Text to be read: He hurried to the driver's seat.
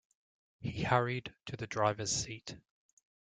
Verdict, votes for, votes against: accepted, 2, 0